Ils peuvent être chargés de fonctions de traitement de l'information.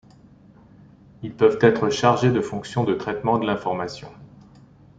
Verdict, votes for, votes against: accepted, 2, 0